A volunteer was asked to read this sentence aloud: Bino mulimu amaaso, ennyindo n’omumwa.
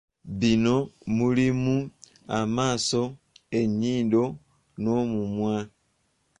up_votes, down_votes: 2, 0